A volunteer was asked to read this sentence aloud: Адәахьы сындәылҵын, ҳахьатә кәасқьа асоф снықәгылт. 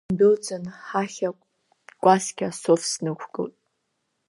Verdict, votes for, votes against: rejected, 0, 2